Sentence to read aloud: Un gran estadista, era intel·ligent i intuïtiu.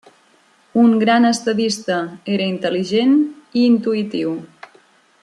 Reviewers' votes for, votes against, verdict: 3, 0, accepted